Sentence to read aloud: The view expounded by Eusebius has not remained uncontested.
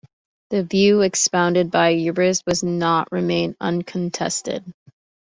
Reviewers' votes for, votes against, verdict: 1, 2, rejected